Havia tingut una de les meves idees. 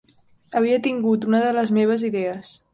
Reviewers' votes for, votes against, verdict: 4, 2, accepted